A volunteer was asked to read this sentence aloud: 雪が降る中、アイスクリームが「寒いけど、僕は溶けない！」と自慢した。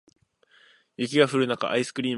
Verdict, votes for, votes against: rejected, 0, 2